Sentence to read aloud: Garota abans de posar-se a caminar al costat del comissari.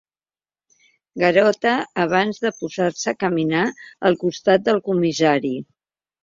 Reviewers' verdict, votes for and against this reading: accepted, 4, 0